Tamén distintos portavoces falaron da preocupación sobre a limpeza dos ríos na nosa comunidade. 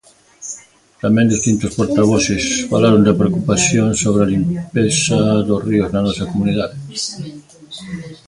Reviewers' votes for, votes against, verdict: 1, 2, rejected